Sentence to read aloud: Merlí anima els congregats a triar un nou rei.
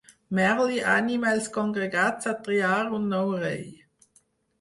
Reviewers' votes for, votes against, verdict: 0, 4, rejected